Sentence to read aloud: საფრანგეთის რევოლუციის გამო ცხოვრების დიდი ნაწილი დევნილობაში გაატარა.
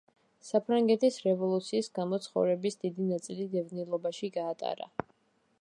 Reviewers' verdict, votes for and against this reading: accepted, 2, 0